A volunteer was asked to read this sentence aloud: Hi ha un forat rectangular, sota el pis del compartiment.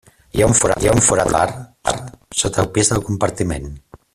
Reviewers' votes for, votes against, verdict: 0, 2, rejected